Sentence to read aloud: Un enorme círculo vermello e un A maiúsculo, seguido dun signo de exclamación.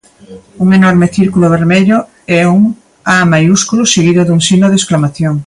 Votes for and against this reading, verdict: 2, 0, accepted